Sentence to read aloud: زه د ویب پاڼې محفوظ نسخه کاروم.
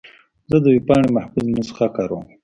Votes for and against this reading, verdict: 0, 2, rejected